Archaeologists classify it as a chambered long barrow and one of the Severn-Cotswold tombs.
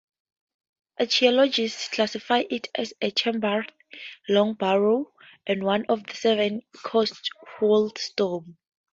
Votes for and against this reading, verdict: 2, 0, accepted